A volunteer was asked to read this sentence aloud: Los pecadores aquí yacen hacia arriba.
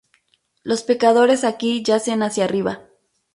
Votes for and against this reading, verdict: 4, 0, accepted